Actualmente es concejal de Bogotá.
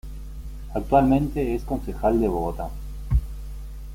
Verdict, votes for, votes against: accepted, 2, 0